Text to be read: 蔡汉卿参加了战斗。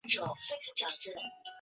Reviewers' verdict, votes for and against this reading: accepted, 2, 1